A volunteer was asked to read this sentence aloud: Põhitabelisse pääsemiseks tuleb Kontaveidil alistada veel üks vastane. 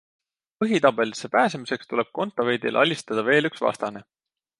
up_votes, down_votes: 2, 0